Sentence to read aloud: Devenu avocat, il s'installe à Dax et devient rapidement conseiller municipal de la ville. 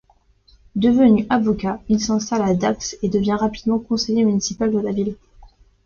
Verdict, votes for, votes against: accepted, 2, 0